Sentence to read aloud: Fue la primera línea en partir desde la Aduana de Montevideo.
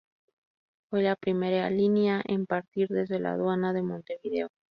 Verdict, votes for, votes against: accepted, 2, 0